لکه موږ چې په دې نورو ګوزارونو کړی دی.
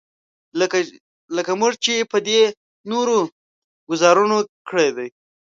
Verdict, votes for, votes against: rejected, 0, 2